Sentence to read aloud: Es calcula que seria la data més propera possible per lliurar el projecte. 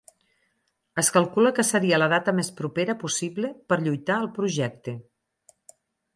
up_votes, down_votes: 2, 4